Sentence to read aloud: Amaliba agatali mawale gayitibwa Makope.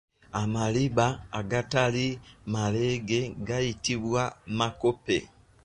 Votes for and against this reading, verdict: 1, 2, rejected